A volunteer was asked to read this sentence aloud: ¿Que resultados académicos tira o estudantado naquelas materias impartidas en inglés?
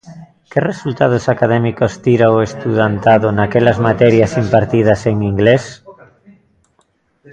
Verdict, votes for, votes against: rejected, 1, 2